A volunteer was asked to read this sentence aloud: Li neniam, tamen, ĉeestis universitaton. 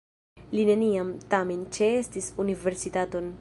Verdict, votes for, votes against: rejected, 0, 2